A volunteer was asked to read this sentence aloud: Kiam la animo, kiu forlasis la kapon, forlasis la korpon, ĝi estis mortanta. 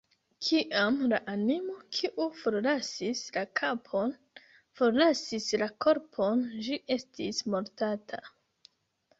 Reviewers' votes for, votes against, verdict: 0, 2, rejected